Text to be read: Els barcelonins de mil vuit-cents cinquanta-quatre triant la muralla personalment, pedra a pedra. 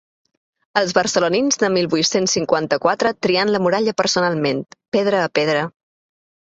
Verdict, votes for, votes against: accepted, 2, 0